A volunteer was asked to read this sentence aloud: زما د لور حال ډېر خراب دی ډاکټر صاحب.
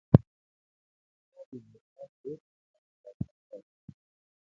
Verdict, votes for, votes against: rejected, 0, 2